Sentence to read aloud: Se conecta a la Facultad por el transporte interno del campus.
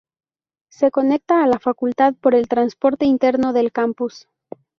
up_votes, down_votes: 2, 0